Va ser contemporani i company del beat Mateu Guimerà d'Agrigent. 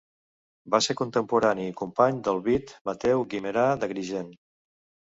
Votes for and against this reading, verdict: 1, 2, rejected